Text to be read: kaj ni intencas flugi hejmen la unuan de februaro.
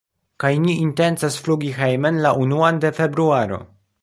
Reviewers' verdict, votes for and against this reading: accepted, 2, 0